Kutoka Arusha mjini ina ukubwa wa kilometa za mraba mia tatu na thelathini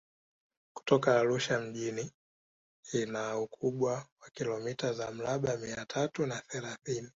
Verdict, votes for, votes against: accepted, 2, 1